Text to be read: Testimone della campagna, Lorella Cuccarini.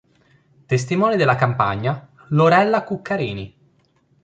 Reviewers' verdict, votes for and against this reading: accepted, 2, 0